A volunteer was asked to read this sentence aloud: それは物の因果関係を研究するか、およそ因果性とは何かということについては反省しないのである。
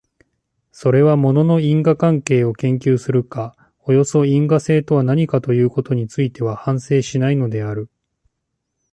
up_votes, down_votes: 2, 0